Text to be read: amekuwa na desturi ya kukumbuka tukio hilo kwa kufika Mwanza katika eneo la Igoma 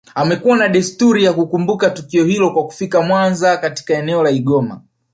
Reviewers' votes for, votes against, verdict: 1, 2, rejected